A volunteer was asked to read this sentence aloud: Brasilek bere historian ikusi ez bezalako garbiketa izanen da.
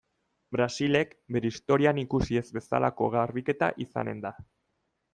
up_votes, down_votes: 2, 0